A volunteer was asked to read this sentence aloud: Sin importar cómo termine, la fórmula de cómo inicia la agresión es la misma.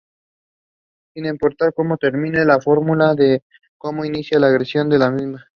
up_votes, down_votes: 0, 2